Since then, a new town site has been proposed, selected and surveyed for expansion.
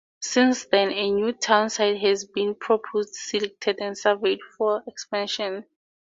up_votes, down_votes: 2, 0